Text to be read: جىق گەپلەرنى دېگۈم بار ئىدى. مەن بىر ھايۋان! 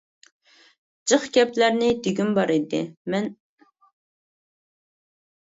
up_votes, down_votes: 0, 2